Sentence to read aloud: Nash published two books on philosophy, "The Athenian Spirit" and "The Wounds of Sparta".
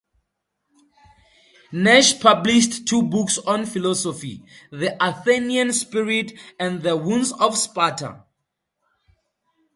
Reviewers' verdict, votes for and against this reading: accepted, 4, 0